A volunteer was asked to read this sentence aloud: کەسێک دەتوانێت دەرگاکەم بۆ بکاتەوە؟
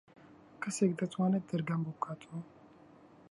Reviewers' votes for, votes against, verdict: 0, 2, rejected